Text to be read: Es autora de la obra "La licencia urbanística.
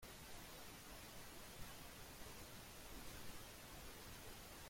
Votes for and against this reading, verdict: 0, 2, rejected